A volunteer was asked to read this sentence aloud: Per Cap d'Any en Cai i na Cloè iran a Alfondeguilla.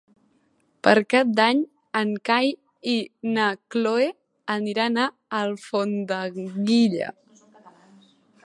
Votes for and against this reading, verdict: 1, 2, rejected